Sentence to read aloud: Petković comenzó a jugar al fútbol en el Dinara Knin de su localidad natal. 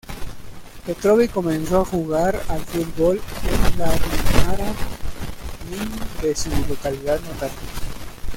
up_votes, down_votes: 1, 2